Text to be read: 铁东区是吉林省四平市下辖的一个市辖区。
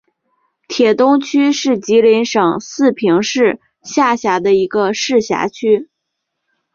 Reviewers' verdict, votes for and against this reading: accepted, 2, 0